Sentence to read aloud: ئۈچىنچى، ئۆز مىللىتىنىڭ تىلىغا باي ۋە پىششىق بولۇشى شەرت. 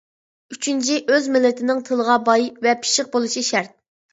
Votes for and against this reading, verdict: 2, 0, accepted